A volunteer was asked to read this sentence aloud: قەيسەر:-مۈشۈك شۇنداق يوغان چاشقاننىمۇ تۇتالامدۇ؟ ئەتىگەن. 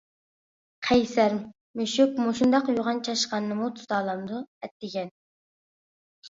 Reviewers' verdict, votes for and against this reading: accepted, 2, 1